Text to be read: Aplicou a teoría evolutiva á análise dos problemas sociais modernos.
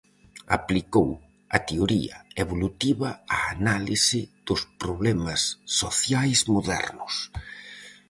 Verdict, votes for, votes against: accepted, 4, 0